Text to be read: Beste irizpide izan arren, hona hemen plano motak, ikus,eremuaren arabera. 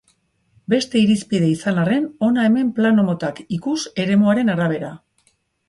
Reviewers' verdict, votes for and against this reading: accepted, 2, 0